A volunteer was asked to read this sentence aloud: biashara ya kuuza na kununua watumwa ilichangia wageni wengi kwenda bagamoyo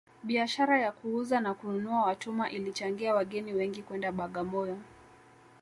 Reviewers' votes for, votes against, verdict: 2, 0, accepted